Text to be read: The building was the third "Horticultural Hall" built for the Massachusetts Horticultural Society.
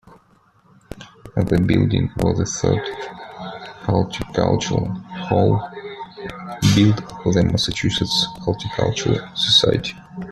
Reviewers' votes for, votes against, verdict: 2, 1, accepted